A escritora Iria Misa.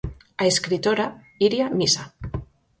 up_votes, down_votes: 4, 0